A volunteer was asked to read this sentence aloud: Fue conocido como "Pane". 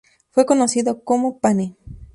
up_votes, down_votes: 2, 0